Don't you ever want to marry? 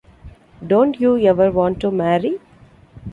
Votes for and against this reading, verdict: 2, 0, accepted